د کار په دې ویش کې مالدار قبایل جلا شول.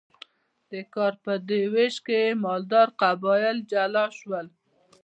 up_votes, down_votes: 2, 0